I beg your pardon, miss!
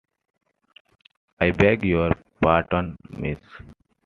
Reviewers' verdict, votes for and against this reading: accepted, 2, 0